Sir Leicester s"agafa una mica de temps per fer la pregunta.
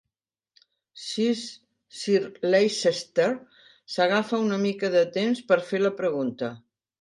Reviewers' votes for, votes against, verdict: 1, 2, rejected